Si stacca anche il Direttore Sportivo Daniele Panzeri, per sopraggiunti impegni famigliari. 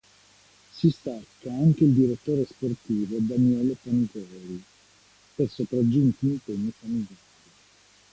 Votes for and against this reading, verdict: 1, 2, rejected